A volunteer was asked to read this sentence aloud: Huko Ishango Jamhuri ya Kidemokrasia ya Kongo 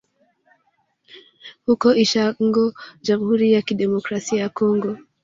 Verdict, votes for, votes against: rejected, 0, 2